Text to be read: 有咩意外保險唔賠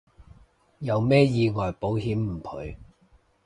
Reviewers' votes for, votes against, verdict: 2, 0, accepted